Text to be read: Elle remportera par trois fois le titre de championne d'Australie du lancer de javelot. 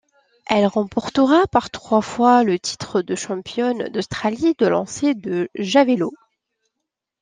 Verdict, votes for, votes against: rejected, 0, 2